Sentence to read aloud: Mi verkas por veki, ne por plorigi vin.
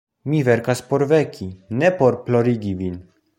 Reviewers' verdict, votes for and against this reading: accepted, 2, 0